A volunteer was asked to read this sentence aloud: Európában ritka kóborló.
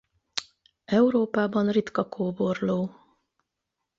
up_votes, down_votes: 8, 0